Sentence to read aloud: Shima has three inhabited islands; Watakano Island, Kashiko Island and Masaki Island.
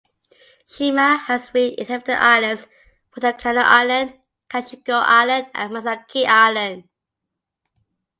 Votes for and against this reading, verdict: 2, 0, accepted